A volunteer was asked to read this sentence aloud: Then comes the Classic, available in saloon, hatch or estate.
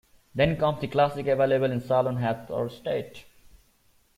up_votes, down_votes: 0, 2